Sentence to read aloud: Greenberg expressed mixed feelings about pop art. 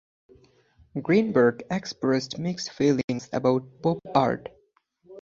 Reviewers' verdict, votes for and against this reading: accepted, 2, 0